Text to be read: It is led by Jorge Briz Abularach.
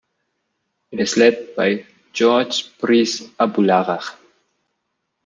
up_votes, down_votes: 2, 0